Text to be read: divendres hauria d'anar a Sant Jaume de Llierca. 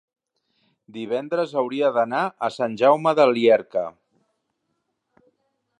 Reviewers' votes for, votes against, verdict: 1, 3, rejected